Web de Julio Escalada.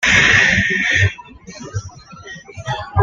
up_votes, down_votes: 1, 2